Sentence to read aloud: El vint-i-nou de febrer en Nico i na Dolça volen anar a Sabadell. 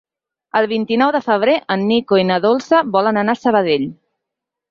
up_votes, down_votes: 6, 0